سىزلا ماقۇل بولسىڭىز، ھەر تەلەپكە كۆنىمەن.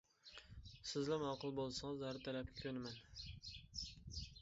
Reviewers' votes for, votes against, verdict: 0, 2, rejected